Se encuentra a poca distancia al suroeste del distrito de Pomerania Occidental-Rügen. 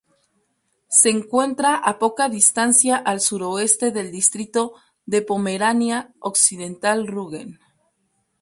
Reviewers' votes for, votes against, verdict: 2, 0, accepted